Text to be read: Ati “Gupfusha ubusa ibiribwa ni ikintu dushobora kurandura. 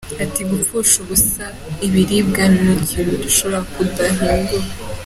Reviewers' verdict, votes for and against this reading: rejected, 1, 2